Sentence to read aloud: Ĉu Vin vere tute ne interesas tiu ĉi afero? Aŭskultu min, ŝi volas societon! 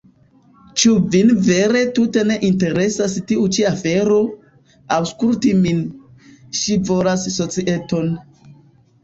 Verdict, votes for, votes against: accepted, 3, 1